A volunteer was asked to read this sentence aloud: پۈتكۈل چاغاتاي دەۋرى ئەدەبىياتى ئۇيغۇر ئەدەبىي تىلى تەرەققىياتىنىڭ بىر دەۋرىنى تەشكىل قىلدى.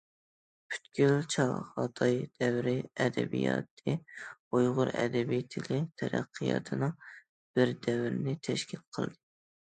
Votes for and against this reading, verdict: 1, 2, rejected